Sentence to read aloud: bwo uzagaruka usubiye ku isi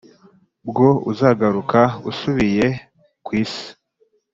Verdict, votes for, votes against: accepted, 2, 0